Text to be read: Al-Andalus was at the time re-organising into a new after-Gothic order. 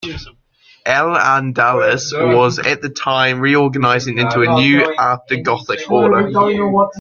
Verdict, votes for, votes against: rejected, 2, 3